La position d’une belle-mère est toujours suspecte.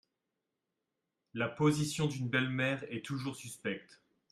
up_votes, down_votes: 2, 0